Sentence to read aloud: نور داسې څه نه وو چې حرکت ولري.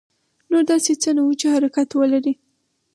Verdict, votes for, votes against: accepted, 4, 0